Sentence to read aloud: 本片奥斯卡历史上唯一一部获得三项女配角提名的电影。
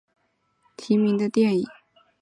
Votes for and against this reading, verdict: 0, 3, rejected